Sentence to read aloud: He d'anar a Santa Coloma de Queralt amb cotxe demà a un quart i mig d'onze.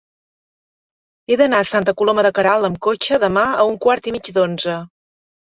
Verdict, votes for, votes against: accepted, 3, 0